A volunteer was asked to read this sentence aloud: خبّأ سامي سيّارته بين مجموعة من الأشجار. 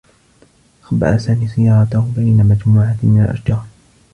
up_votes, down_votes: 2, 0